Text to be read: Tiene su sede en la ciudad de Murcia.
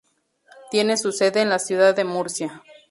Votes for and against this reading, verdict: 2, 2, rejected